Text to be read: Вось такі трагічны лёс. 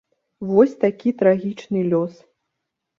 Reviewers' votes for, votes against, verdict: 2, 0, accepted